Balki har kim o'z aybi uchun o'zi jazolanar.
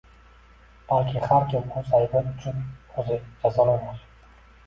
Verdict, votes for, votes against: accepted, 2, 0